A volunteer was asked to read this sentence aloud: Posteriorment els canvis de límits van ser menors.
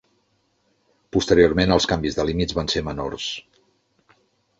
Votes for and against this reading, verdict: 3, 0, accepted